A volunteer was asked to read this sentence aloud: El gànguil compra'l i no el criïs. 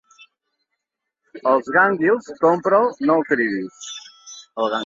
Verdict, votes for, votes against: rejected, 0, 2